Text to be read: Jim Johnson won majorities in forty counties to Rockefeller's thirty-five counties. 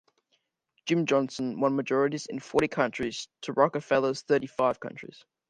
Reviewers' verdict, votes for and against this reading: rejected, 0, 2